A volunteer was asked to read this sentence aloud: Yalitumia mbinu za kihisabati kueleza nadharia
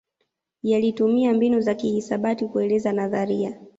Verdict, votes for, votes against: accepted, 2, 0